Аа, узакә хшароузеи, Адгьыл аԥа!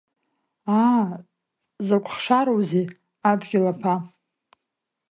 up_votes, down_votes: 2, 0